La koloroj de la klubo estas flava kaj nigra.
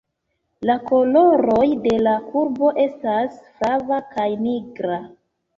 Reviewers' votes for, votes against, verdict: 1, 2, rejected